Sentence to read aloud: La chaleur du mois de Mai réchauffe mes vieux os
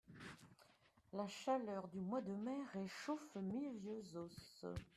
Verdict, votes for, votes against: accepted, 2, 0